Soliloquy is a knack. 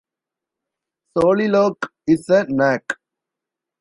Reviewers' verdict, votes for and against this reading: rejected, 0, 2